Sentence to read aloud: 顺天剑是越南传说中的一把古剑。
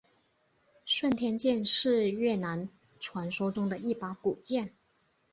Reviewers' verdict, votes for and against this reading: accepted, 5, 0